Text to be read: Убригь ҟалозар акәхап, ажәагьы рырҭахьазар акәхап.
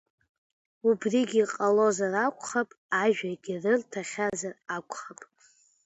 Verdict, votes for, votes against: rejected, 1, 2